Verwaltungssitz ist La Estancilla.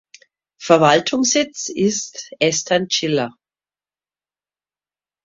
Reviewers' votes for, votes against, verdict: 0, 2, rejected